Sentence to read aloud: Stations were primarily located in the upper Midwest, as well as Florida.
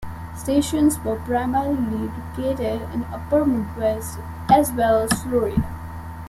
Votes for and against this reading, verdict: 0, 2, rejected